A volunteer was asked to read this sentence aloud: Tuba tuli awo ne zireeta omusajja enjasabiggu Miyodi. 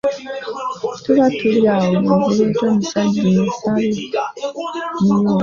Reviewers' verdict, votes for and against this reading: rejected, 0, 2